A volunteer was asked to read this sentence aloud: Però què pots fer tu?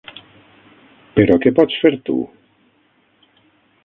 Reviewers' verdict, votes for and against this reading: rejected, 3, 6